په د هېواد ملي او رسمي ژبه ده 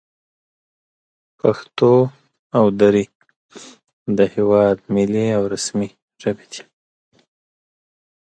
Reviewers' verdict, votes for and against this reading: rejected, 0, 2